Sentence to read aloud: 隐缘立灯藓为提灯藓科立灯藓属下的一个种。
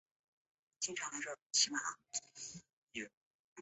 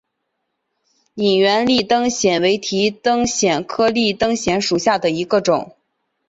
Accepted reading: second